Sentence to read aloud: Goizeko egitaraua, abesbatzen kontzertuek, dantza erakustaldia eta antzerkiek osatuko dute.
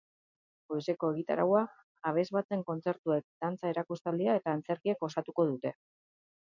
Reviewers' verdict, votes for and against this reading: accepted, 2, 0